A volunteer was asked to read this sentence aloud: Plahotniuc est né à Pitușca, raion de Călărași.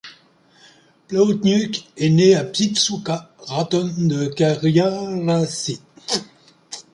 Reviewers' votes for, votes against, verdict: 0, 2, rejected